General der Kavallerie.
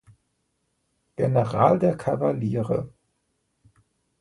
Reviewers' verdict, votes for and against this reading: rejected, 1, 2